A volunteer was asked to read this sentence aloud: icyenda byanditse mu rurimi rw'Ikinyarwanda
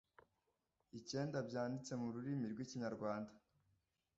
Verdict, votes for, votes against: rejected, 0, 2